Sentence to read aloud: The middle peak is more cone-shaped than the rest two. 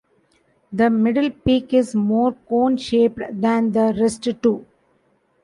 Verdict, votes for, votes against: rejected, 1, 2